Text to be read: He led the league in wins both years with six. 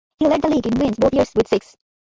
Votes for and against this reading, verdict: 1, 2, rejected